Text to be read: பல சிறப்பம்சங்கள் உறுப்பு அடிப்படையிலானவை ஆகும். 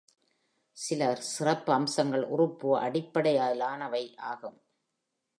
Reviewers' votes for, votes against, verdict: 3, 1, accepted